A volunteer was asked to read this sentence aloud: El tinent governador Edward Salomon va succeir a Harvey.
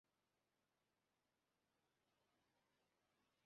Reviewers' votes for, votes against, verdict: 1, 4, rejected